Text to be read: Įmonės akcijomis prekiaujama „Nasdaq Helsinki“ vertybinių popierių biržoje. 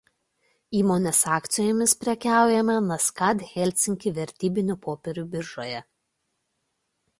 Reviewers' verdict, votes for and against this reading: rejected, 1, 2